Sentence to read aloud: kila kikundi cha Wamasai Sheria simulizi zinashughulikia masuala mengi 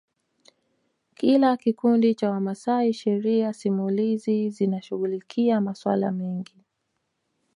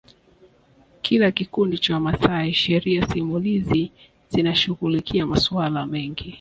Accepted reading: second